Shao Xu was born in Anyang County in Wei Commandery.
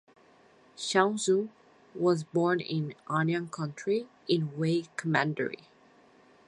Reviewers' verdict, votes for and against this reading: rejected, 2, 2